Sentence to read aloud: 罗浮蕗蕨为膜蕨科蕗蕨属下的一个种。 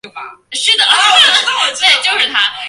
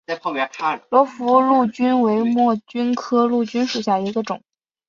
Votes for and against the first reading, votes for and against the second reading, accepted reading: 0, 2, 2, 0, second